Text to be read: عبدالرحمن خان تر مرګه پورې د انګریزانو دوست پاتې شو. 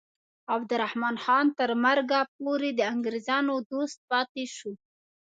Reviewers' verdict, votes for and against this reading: accepted, 2, 0